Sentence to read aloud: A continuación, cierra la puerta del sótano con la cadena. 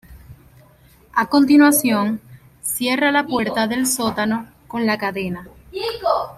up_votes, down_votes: 0, 2